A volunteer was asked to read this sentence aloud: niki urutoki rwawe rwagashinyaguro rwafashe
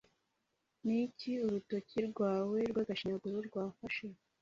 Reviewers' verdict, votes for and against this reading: accepted, 2, 0